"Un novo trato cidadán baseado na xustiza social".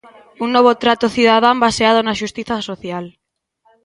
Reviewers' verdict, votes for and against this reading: accepted, 2, 1